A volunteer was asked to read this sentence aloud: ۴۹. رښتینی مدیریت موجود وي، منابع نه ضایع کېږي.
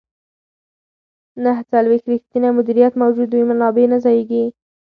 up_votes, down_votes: 0, 2